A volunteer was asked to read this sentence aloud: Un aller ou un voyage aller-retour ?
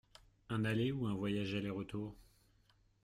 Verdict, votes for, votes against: rejected, 1, 2